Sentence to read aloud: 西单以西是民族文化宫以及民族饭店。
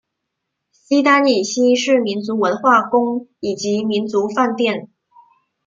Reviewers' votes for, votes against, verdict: 2, 0, accepted